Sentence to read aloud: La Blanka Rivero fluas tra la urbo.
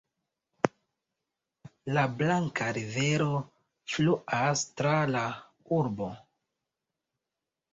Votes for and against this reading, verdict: 0, 2, rejected